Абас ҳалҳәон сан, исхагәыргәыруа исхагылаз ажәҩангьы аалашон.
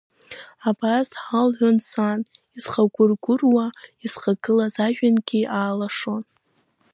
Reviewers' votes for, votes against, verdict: 2, 1, accepted